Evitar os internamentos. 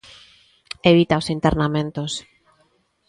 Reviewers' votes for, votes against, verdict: 0, 2, rejected